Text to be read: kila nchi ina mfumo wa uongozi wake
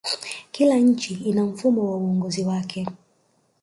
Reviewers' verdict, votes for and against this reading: rejected, 0, 2